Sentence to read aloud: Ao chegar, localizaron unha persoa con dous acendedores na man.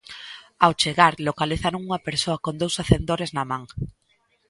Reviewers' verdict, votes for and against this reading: rejected, 0, 2